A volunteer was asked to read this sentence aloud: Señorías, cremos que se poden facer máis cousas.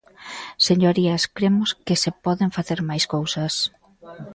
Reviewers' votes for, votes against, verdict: 2, 0, accepted